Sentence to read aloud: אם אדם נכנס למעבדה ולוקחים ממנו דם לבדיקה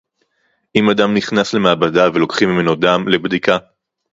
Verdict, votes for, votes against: accepted, 4, 0